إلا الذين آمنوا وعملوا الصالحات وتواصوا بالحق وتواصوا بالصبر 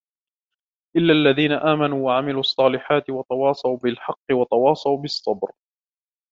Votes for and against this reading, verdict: 2, 0, accepted